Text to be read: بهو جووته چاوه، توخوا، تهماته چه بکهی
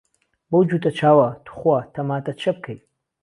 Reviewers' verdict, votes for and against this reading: accepted, 2, 0